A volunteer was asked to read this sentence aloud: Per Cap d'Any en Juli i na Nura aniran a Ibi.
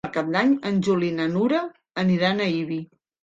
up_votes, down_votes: 2, 0